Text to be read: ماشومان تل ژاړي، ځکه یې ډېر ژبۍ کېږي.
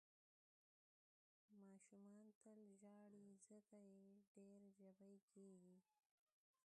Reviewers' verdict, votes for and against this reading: rejected, 2, 3